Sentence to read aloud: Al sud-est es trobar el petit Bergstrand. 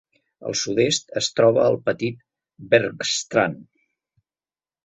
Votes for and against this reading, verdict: 2, 0, accepted